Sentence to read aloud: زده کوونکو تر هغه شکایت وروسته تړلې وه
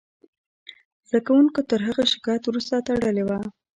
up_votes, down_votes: 0, 2